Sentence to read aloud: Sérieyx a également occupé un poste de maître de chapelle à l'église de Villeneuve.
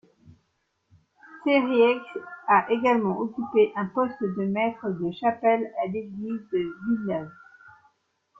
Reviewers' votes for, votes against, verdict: 2, 0, accepted